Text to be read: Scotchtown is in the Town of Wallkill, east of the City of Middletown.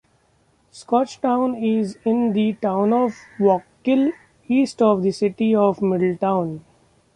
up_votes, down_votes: 2, 0